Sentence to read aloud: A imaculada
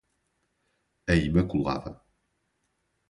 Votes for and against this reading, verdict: 2, 0, accepted